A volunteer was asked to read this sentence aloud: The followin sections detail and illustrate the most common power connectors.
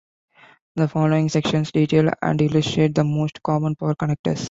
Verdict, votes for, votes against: accepted, 2, 0